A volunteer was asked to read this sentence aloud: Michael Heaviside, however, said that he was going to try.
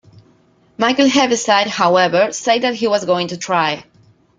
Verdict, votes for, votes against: accepted, 2, 0